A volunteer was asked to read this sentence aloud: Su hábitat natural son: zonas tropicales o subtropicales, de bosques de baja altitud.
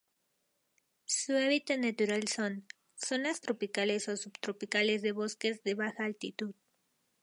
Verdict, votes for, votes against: accepted, 2, 0